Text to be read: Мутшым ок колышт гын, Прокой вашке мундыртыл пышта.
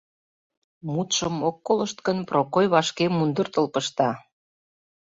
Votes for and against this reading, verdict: 2, 0, accepted